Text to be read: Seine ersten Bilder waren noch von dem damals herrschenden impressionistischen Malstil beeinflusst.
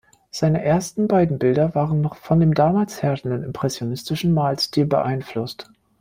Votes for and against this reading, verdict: 0, 2, rejected